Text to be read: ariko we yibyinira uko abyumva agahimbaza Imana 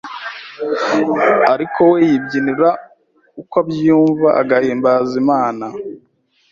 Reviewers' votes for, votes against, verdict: 2, 0, accepted